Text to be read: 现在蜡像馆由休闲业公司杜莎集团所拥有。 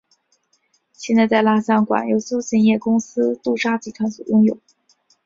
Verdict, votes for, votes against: accepted, 3, 0